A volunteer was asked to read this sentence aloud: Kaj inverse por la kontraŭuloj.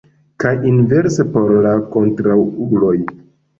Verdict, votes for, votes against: rejected, 0, 2